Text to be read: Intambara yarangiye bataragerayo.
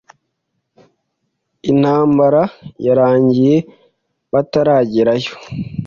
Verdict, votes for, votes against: accepted, 2, 0